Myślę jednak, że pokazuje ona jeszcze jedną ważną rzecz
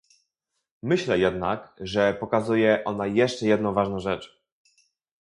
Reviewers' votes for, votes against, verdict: 0, 2, rejected